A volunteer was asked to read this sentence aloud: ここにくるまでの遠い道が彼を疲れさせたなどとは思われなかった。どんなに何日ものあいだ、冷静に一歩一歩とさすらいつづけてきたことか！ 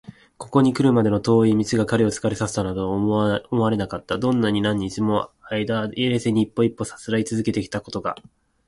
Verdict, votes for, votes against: rejected, 1, 2